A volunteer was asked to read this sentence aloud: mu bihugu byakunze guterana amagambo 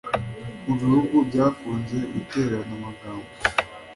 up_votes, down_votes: 3, 0